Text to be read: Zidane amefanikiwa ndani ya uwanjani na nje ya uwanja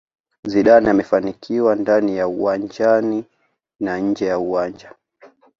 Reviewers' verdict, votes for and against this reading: accepted, 2, 0